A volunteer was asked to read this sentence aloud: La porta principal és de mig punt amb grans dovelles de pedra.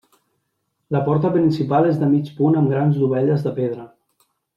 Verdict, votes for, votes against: accepted, 3, 0